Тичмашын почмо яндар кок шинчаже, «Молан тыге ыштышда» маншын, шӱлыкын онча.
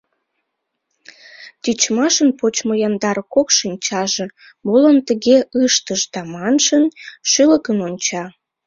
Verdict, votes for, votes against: accepted, 2, 1